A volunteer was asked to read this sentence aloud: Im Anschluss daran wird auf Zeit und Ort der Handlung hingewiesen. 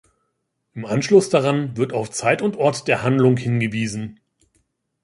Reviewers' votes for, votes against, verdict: 3, 0, accepted